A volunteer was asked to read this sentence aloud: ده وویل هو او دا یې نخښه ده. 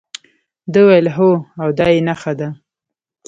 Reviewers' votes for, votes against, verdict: 2, 0, accepted